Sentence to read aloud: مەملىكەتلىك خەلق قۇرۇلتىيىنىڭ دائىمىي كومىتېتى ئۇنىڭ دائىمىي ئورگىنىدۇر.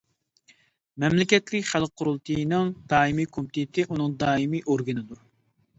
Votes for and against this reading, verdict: 2, 0, accepted